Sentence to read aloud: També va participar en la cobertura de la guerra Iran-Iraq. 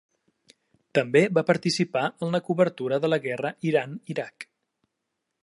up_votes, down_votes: 3, 0